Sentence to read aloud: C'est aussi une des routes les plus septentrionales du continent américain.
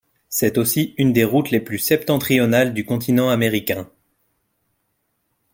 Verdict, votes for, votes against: accepted, 2, 0